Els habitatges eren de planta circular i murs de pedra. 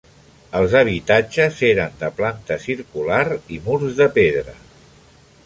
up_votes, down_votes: 3, 0